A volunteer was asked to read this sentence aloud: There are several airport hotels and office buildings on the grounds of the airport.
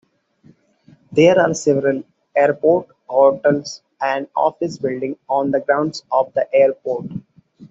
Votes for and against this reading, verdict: 1, 2, rejected